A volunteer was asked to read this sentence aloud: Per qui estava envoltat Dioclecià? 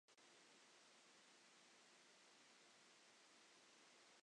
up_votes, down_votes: 0, 2